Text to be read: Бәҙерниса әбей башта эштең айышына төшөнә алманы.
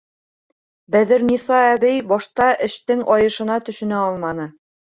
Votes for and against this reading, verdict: 3, 0, accepted